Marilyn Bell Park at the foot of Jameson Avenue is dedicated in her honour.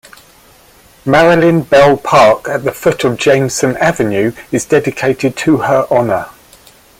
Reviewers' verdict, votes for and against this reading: rejected, 0, 2